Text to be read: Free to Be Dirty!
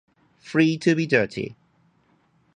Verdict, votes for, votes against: accepted, 2, 0